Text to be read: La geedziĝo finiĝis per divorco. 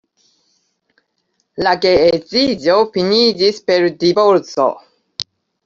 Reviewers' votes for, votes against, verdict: 2, 0, accepted